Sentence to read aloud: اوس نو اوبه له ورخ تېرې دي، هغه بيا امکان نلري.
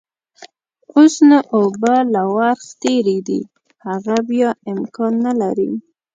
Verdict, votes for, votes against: accepted, 2, 0